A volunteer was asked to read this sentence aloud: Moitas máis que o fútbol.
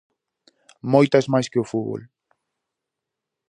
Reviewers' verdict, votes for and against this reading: accepted, 2, 0